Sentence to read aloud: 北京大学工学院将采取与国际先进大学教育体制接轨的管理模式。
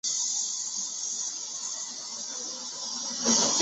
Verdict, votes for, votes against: rejected, 0, 2